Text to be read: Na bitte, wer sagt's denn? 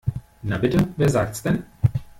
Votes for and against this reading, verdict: 1, 2, rejected